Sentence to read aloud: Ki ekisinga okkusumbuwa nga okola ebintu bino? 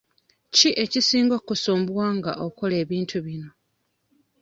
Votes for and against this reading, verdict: 2, 0, accepted